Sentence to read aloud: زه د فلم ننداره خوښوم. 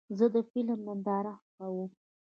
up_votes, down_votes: 1, 2